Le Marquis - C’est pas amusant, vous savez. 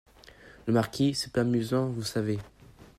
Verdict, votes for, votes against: rejected, 1, 2